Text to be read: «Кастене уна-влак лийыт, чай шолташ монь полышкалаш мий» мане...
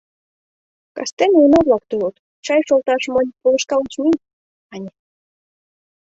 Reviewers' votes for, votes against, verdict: 1, 2, rejected